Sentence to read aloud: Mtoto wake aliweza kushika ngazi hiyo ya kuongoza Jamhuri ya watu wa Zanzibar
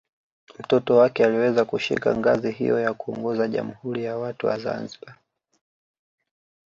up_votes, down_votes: 2, 0